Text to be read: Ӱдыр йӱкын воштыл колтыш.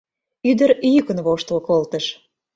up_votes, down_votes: 2, 0